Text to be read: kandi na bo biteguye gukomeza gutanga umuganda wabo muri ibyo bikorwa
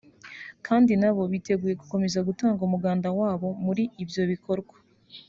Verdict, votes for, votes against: accepted, 3, 0